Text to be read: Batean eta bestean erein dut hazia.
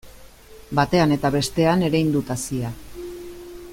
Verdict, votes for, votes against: accepted, 2, 0